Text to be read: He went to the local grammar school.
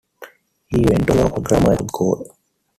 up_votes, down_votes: 1, 2